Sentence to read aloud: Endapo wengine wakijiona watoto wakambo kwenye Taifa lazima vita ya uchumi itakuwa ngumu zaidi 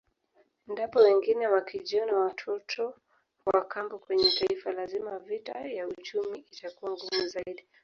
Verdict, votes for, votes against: rejected, 2, 3